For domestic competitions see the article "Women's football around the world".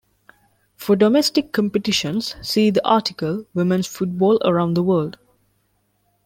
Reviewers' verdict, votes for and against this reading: rejected, 0, 2